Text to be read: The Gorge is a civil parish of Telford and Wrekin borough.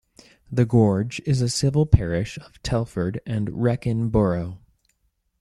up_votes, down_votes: 2, 0